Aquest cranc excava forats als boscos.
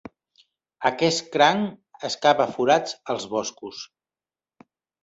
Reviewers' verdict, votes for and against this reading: accepted, 2, 0